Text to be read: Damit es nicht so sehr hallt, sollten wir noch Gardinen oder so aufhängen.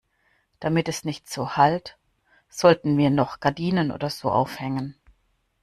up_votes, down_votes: 1, 2